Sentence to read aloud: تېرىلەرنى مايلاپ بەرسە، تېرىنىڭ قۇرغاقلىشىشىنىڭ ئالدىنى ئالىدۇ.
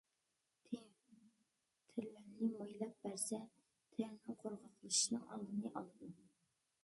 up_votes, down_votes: 0, 2